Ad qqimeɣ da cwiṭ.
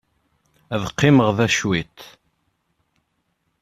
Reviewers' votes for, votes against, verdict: 2, 0, accepted